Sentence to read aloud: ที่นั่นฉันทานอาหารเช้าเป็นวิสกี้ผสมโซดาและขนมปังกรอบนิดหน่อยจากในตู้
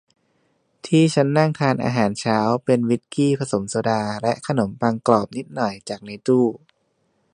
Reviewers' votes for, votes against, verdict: 1, 3, rejected